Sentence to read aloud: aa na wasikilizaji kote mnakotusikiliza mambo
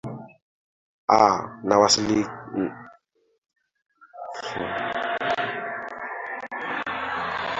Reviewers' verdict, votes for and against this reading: rejected, 0, 2